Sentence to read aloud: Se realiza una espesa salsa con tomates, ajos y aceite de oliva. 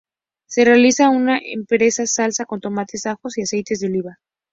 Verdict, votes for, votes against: rejected, 0, 2